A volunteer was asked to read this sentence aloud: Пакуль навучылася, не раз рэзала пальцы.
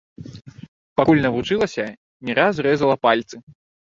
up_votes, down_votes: 1, 2